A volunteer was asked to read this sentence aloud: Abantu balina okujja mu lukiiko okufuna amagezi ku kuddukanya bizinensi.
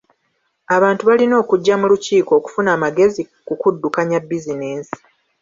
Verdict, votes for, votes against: rejected, 1, 2